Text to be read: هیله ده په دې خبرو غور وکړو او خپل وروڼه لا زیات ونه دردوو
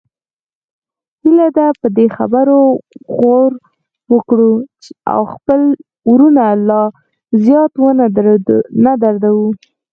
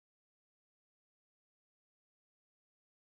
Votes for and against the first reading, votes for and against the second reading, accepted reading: 4, 0, 0, 2, first